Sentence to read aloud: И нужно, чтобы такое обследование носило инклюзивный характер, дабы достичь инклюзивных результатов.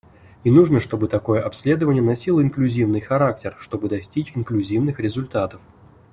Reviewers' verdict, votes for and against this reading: rejected, 0, 3